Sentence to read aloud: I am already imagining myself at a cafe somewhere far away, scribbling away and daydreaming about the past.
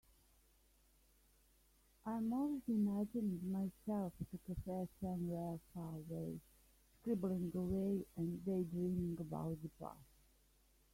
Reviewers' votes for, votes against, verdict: 0, 2, rejected